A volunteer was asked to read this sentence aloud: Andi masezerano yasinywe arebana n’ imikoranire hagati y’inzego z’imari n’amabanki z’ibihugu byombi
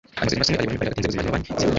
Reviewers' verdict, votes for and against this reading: rejected, 1, 2